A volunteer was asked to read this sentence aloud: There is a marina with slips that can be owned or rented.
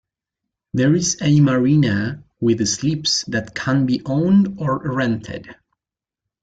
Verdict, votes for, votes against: rejected, 1, 2